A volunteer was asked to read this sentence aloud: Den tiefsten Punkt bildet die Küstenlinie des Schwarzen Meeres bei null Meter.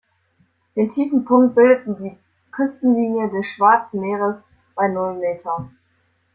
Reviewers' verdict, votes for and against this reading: rejected, 0, 2